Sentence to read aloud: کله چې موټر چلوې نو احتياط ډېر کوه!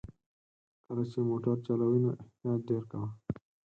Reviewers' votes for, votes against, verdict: 0, 4, rejected